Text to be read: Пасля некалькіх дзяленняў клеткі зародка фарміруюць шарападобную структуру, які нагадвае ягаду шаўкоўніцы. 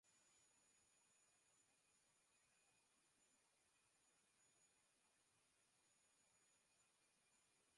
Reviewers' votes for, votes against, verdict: 0, 2, rejected